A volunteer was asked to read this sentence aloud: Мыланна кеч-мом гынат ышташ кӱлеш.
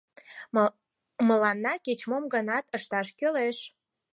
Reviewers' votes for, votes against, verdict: 0, 4, rejected